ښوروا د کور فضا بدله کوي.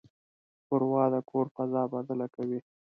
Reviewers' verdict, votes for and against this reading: accepted, 2, 0